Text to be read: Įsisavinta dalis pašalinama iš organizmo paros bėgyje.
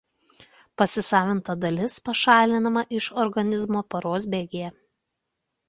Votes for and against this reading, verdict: 1, 2, rejected